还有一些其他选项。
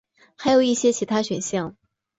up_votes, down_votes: 6, 1